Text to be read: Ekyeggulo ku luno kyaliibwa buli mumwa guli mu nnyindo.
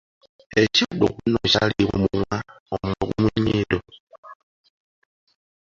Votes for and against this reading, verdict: 1, 2, rejected